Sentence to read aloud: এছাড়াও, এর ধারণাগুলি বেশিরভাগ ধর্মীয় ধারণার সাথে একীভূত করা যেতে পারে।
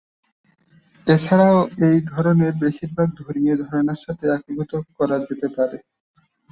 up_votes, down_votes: 0, 2